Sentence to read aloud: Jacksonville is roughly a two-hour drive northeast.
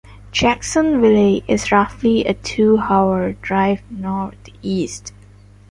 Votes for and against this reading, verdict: 2, 0, accepted